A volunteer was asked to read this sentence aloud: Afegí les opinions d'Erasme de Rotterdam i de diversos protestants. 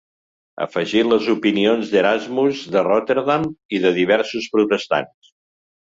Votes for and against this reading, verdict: 2, 3, rejected